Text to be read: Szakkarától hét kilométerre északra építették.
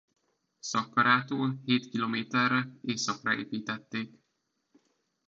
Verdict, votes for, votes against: accepted, 2, 0